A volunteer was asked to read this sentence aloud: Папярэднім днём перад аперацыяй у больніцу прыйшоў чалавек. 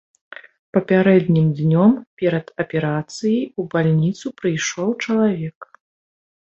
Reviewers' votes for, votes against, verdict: 0, 2, rejected